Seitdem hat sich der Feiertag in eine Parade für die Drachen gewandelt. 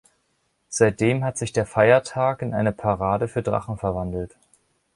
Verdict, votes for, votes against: rejected, 0, 2